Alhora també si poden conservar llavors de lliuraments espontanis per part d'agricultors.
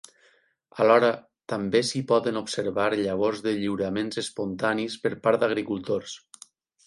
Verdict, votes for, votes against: rejected, 0, 8